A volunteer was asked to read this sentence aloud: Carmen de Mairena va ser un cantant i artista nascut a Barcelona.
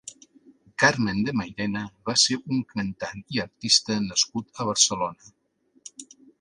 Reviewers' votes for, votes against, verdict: 3, 0, accepted